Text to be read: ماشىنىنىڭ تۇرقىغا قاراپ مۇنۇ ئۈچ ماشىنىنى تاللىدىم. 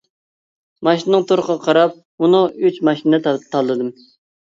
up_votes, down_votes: 1, 2